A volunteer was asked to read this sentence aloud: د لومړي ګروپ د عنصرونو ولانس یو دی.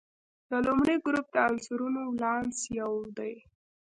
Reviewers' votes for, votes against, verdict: 1, 2, rejected